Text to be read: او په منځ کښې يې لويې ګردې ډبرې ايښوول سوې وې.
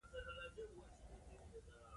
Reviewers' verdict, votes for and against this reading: accepted, 2, 1